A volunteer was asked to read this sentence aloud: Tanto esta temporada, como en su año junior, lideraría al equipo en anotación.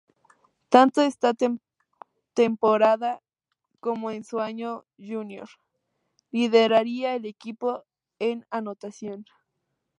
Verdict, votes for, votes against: rejected, 0, 2